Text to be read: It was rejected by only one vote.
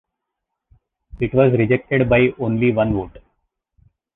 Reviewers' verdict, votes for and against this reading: rejected, 1, 2